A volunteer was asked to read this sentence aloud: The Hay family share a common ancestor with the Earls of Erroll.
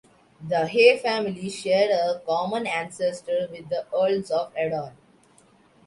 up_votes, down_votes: 2, 0